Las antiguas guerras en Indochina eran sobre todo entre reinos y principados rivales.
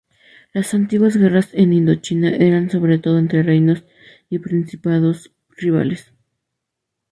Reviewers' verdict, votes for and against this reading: accepted, 2, 0